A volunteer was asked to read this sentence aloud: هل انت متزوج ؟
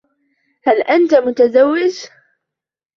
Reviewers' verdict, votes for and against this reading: accepted, 2, 1